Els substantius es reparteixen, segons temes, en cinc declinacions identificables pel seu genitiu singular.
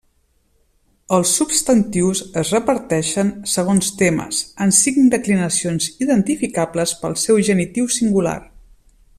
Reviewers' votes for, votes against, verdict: 2, 0, accepted